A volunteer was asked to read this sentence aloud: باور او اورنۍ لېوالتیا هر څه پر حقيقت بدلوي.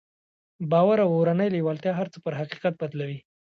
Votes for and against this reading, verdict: 2, 0, accepted